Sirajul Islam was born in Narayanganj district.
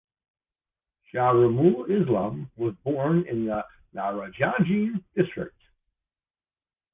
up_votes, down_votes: 0, 2